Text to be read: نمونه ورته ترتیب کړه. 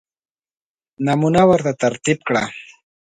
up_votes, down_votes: 2, 0